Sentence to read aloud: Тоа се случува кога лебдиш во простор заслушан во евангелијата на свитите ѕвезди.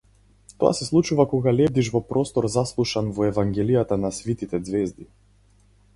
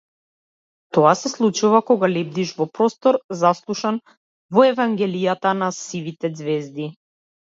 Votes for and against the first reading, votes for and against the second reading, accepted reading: 4, 0, 0, 2, first